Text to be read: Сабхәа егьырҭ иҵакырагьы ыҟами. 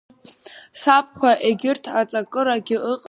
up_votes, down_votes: 1, 3